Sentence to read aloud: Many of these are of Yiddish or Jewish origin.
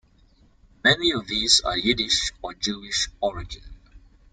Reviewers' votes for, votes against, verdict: 2, 1, accepted